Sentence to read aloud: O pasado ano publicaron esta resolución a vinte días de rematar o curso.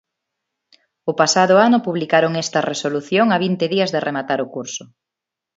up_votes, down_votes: 2, 0